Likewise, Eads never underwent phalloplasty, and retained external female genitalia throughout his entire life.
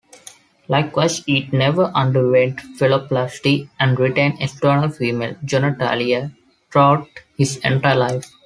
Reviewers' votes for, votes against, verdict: 0, 2, rejected